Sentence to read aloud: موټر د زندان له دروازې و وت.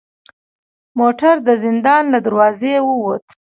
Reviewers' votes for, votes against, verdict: 2, 0, accepted